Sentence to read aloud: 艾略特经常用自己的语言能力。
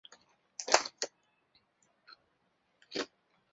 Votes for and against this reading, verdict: 0, 2, rejected